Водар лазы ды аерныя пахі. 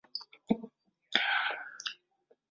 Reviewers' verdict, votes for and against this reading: rejected, 0, 2